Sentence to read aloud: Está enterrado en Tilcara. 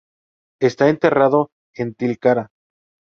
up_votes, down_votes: 4, 0